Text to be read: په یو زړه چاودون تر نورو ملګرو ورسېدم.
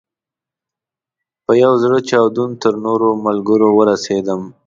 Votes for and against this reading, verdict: 2, 0, accepted